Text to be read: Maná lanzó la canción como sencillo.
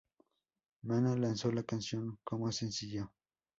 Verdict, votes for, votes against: accepted, 2, 0